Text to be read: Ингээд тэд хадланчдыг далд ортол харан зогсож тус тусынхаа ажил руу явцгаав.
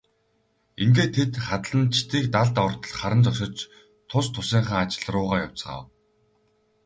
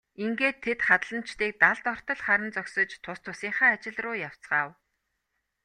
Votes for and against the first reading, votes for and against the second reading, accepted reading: 0, 2, 2, 0, second